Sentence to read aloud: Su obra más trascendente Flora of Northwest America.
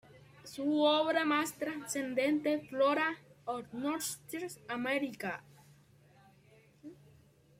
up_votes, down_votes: 2, 1